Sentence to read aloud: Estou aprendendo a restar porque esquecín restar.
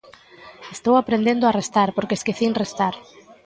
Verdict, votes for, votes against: accepted, 2, 0